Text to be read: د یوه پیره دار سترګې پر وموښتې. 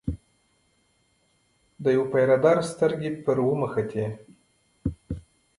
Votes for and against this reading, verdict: 2, 1, accepted